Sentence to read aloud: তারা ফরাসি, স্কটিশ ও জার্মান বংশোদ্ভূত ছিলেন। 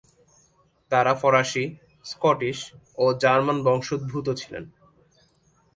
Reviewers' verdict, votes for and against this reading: rejected, 1, 2